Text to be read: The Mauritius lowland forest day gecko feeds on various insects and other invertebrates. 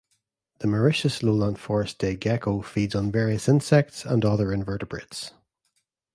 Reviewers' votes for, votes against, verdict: 2, 0, accepted